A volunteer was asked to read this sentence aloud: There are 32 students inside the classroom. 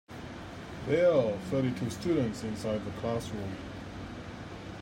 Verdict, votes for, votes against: rejected, 0, 2